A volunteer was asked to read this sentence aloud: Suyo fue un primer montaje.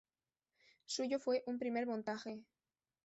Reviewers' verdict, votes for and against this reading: rejected, 1, 2